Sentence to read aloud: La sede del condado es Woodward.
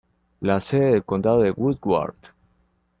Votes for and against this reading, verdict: 1, 2, rejected